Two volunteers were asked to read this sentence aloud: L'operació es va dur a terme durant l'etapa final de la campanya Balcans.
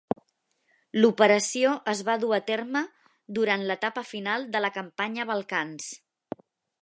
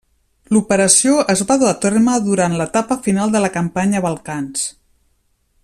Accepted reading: first